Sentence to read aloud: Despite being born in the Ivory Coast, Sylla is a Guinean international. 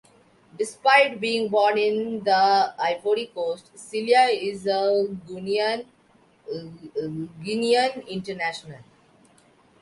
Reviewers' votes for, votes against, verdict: 1, 3, rejected